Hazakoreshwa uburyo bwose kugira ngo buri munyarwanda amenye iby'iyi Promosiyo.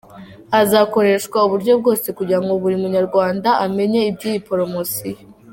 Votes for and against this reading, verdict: 2, 1, accepted